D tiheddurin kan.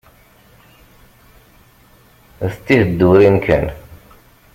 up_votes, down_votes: 0, 2